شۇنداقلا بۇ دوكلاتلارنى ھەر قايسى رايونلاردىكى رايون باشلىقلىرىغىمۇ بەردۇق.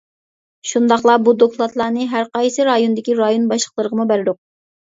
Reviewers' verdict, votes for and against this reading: rejected, 1, 2